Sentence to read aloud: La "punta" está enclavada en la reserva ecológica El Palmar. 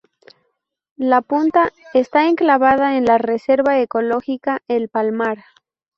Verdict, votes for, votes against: accepted, 2, 0